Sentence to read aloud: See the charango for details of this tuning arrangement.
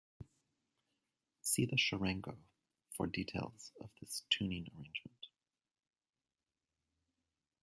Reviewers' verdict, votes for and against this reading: accepted, 2, 0